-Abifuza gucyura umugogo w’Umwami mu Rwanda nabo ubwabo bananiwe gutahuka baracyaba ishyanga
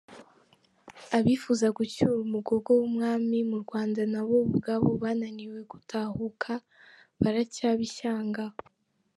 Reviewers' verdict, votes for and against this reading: accepted, 4, 3